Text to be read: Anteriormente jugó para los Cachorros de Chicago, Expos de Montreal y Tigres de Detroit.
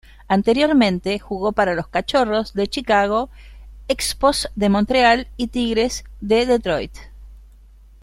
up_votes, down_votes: 2, 0